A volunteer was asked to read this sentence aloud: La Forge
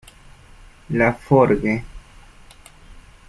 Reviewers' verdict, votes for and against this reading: rejected, 1, 2